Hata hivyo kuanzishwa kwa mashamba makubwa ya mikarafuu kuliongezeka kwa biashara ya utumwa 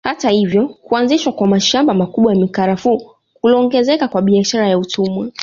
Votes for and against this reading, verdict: 2, 0, accepted